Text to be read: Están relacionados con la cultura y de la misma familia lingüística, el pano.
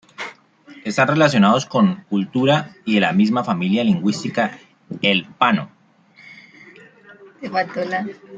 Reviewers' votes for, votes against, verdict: 1, 2, rejected